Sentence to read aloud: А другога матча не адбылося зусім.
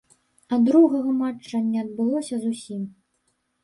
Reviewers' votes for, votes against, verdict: 0, 2, rejected